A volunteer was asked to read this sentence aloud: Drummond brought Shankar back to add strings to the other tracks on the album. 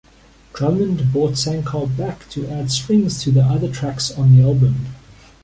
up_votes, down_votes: 3, 1